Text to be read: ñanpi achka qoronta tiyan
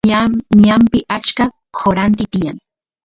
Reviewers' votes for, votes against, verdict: 0, 2, rejected